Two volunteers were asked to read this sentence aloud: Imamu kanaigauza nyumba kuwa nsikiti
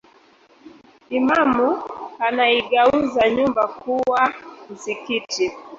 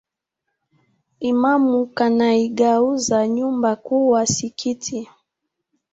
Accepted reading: second